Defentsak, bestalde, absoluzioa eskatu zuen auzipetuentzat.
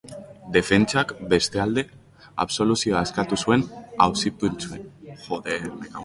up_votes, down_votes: 0, 6